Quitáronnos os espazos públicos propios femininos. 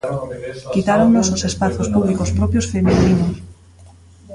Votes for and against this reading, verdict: 0, 2, rejected